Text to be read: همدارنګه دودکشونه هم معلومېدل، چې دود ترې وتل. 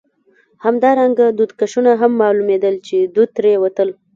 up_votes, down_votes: 0, 2